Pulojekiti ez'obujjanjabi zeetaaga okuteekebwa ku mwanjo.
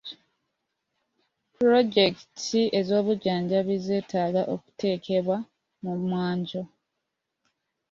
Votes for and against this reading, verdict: 1, 2, rejected